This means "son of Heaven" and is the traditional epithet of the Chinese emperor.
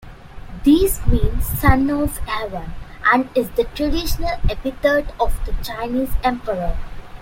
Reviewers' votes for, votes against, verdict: 1, 2, rejected